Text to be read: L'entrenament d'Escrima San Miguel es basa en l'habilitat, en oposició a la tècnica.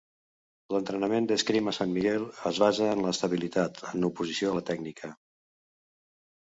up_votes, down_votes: 0, 2